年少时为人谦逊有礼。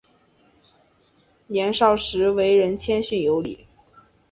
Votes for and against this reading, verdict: 1, 2, rejected